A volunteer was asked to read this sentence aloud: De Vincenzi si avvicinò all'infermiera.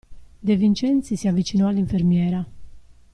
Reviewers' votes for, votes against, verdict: 2, 0, accepted